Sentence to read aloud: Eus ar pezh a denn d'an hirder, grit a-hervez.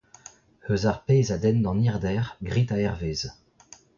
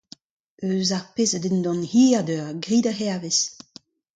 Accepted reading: second